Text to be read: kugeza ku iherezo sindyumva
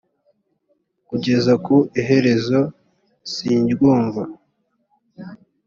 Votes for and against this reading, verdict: 2, 0, accepted